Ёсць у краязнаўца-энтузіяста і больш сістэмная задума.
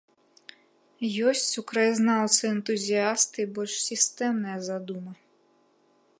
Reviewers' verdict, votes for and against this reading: accepted, 2, 0